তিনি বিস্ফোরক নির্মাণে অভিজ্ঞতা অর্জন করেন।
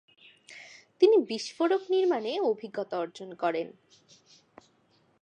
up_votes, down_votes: 2, 0